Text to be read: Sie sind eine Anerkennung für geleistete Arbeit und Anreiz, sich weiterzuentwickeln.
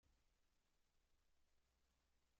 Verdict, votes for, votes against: rejected, 0, 2